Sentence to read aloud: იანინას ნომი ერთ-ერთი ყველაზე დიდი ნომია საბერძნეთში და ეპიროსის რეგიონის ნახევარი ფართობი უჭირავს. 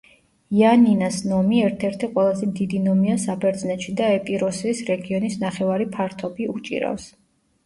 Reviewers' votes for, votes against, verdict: 2, 0, accepted